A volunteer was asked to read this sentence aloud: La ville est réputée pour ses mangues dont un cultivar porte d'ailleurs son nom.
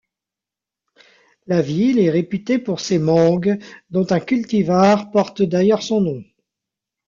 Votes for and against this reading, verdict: 0, 2, rejected